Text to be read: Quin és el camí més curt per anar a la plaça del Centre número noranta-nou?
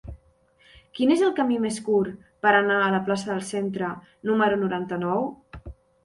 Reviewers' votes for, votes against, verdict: 2, 0, accepted